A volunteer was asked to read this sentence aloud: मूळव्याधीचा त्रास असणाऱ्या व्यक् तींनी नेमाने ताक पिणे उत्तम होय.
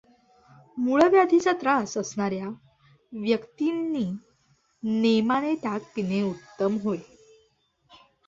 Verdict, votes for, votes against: accepted, 2, 0